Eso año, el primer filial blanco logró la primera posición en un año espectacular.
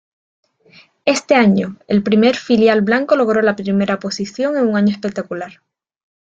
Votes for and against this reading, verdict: 0, 2, rejected